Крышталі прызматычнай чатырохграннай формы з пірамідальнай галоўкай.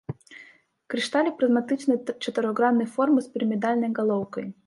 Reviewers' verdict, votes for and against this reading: rejected, 0, 2